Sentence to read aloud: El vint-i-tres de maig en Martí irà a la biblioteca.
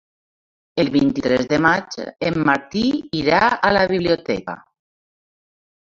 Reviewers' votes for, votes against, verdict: 1, 3, rejected